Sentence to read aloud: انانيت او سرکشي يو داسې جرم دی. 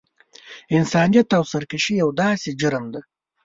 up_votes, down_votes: 0, 2